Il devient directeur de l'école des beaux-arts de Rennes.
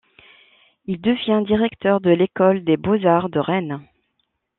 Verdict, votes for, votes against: accepted, 2, 0